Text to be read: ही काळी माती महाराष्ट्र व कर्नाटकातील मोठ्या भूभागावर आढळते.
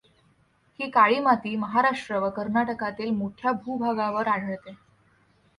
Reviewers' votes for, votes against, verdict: 2, 0, accepted